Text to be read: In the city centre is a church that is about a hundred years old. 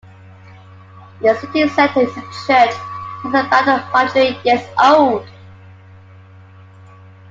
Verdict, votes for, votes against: rejected, 0, 3